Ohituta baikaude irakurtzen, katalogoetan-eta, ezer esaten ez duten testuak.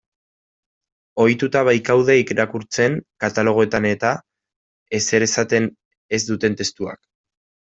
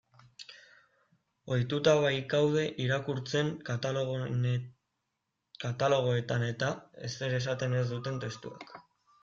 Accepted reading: first